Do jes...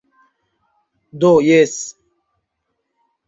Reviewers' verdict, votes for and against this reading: rejected, 1, 2